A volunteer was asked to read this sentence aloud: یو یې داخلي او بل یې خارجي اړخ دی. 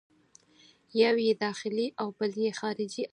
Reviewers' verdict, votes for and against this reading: rejected, 2, 4